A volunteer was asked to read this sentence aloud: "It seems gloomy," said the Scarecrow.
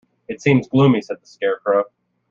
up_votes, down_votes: 2, 1